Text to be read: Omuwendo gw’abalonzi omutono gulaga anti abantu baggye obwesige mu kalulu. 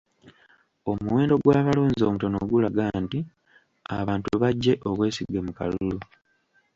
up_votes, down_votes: 0, 2